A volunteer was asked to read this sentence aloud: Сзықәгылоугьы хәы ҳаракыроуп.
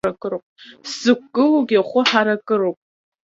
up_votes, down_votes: 2, 1